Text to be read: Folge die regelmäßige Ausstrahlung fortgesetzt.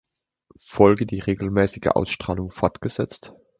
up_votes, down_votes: 2, 0